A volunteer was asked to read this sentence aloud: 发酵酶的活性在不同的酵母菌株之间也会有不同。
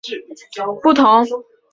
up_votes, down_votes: 0, 5